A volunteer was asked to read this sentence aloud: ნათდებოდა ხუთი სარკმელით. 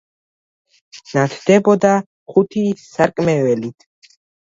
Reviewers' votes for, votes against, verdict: 0, 2, rejected